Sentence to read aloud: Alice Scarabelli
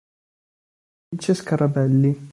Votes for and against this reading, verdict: 1, 3, rejected